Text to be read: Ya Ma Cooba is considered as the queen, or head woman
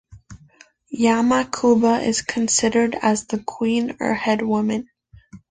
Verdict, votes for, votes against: accepted, 2, 0